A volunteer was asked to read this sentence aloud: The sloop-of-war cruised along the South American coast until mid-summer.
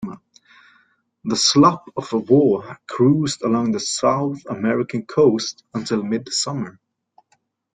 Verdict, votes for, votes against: accepted, 2, 1